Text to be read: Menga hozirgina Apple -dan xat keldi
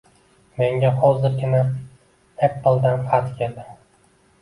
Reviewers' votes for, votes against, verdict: 2, 0, accepted